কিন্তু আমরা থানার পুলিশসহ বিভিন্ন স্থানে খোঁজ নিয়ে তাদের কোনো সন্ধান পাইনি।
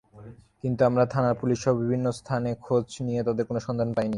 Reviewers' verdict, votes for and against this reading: accepted, 3, 0